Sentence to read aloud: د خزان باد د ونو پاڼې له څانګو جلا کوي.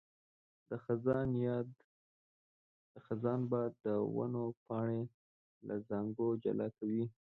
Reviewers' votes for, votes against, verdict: 0, 2, rejected